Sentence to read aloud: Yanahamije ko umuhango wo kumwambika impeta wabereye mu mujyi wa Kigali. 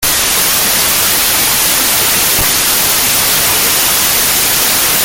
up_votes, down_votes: 0, 2